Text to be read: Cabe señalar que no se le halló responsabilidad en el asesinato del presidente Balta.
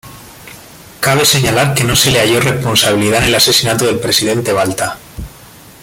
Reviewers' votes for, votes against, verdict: 2, 1, accepted